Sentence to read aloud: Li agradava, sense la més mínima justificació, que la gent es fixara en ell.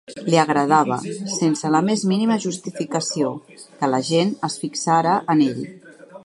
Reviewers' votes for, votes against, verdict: 3, 0, accepted